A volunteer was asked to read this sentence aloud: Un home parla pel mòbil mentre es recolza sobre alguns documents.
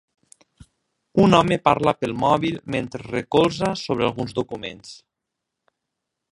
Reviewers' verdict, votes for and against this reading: accepted, 2, 1